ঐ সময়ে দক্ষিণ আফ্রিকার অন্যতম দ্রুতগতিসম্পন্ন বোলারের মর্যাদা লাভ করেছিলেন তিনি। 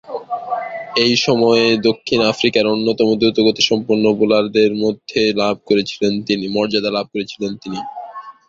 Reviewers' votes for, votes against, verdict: 0, 2, rejected